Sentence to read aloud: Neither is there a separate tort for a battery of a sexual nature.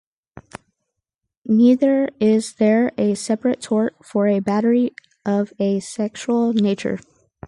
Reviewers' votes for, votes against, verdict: 2, 2, rejected